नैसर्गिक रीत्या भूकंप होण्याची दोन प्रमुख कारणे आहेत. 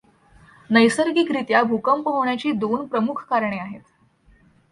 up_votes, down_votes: 2, 0